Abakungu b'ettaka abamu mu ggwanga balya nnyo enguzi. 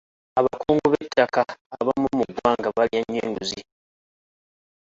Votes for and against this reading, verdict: 1, 2, rejected